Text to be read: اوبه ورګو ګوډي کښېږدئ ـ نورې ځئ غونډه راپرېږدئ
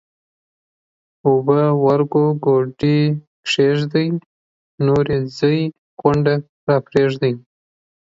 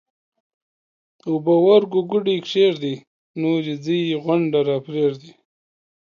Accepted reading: second